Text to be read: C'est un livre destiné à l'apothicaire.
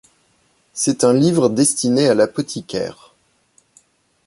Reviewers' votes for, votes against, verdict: 3, 1, accepted